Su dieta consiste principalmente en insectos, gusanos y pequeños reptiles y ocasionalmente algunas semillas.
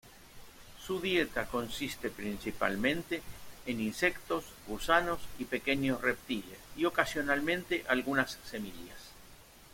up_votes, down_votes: 2, 0